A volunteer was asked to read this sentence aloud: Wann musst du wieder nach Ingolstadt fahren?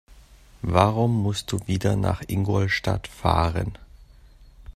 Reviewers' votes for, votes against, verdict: 0, 2, rejected